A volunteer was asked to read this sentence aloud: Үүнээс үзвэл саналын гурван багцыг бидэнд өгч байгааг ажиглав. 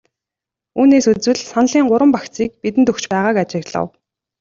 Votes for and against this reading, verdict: 2, 0, accepted